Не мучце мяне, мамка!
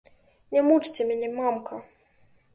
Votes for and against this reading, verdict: 2, 0, accepted